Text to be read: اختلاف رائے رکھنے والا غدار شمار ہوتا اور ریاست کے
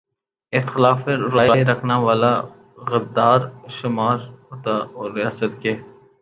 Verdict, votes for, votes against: rejected, 0, 3